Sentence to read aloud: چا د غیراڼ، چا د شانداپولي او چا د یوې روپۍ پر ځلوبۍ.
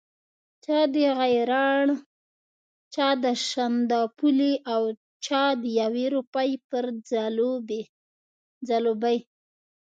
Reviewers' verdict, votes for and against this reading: rejected, 0, 2